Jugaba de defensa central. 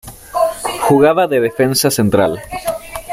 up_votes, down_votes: 2, 1